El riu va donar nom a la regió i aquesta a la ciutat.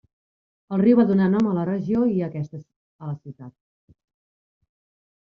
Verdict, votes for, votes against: rejected, 1, 2